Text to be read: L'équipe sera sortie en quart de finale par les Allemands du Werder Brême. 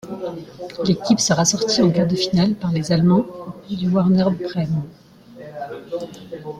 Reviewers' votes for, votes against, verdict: 1, 2, rejected